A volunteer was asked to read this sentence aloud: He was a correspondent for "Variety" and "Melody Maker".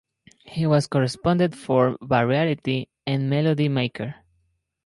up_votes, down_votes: 0, 4